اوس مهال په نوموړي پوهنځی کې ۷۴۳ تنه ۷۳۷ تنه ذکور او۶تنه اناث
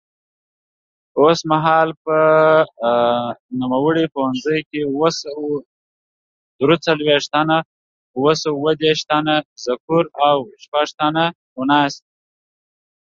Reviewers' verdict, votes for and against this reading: rejected, 0, 2